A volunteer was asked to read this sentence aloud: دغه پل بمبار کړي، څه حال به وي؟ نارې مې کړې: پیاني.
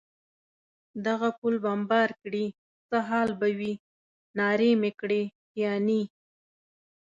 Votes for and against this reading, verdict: 3, 0, accepted